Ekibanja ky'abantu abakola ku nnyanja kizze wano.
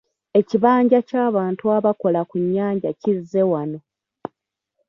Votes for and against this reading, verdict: 2, 1, accepted